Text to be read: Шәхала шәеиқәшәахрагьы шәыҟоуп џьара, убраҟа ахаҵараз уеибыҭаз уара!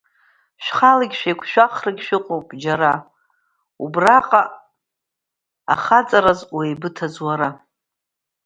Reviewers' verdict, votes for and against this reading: accepted, 2, 1